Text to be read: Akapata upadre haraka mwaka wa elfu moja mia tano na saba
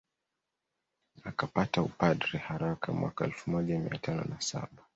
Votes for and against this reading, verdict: 2, 0, accepted